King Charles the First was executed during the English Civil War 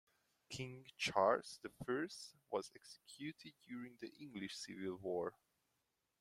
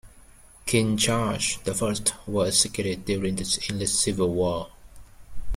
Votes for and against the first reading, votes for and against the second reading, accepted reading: 2, 0, 0, 2, first